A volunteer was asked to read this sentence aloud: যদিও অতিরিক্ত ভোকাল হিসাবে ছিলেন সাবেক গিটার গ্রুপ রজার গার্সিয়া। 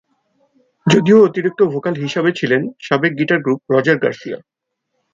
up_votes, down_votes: 88, 10